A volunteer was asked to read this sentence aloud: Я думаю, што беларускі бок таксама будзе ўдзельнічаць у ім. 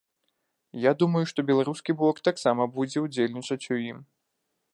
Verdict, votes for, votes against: accepted, 2, 0